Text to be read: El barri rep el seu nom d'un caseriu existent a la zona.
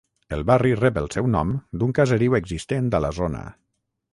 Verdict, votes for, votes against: rejected, 0, 3